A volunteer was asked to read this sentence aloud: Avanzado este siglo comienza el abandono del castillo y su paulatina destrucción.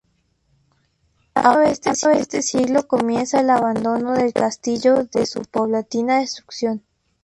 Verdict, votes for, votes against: rejected, 0, 4